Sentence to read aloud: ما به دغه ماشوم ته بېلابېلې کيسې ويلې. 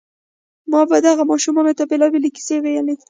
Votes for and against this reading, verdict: 2, 0, accepted